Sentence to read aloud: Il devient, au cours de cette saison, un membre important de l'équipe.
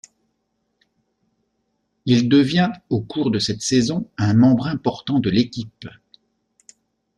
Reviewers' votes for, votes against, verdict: 2, 1, accepted